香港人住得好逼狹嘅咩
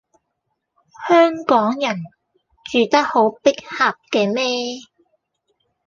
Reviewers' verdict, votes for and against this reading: accepted, 2, 0